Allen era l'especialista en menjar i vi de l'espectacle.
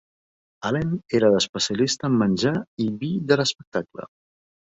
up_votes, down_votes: 1, 2